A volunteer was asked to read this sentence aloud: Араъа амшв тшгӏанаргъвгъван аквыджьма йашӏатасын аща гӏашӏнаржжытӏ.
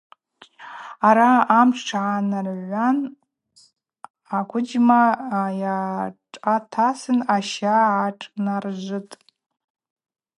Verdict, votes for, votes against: rejected, 0, 4